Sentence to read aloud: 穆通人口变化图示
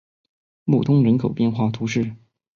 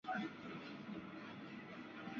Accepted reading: first